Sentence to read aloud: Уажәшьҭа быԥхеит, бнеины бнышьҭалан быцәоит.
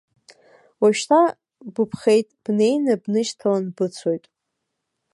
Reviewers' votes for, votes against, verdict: 1, 2, rejected